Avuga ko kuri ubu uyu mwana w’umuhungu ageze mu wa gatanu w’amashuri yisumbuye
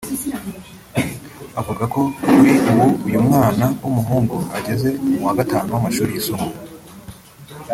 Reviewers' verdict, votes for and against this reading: rejected, 0, 2